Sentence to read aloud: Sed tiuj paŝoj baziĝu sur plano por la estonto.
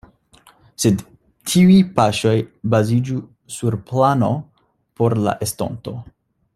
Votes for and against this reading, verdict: 2, 0, accepted